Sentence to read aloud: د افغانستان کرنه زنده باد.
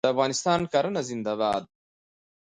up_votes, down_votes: 2, 0